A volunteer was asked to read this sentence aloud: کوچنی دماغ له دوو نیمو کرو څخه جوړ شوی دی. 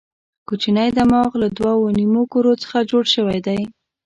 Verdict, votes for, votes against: accepted, 2, 0